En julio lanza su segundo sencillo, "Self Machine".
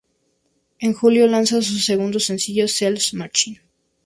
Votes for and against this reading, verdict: 0, 2, rejected